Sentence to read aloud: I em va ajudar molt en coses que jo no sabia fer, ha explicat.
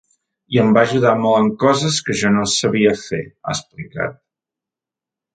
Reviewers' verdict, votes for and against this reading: accepted, 4, 0